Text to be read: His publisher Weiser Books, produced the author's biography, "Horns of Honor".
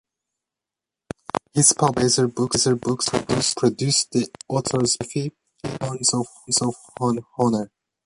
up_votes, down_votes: 0, 2